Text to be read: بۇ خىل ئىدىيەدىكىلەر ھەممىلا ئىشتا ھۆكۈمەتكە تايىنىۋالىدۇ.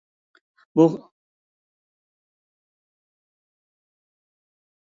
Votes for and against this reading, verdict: 0, 2, rejected